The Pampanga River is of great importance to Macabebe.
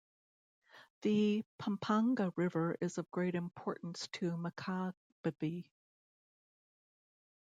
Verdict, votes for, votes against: rejected, 0, 2